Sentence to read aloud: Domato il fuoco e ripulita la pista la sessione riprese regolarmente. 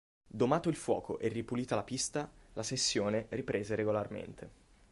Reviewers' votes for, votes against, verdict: 2, 0, accepted